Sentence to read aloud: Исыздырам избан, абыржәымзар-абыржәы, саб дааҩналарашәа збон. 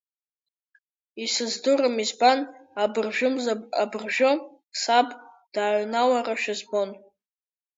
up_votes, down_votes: 1, 2